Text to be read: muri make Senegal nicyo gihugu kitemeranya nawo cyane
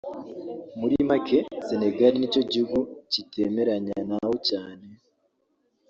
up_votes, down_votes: 2, 0